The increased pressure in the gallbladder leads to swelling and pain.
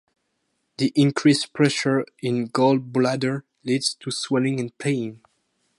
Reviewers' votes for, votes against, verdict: 2, 0, accepted